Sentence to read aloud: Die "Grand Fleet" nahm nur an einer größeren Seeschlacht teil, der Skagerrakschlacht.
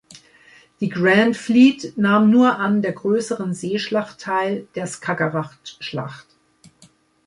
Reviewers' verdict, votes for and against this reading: rejected, 0, 2